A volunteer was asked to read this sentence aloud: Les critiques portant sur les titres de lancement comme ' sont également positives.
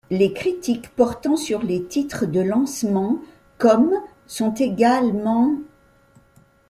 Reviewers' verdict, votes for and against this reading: rejected, 0, 2